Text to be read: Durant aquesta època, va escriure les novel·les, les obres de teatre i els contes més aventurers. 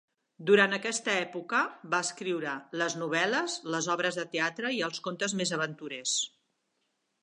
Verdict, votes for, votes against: accepted, 4, 0